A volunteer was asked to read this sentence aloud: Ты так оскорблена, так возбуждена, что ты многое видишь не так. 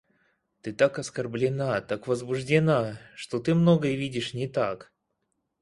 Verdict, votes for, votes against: accepted, 4, 0